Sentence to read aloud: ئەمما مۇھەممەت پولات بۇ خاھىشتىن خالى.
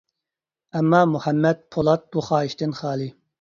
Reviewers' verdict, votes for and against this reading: accepted, 2, 0